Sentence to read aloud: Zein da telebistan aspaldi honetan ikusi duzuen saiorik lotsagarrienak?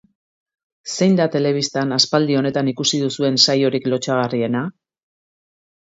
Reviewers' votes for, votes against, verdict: 1, 2, rejected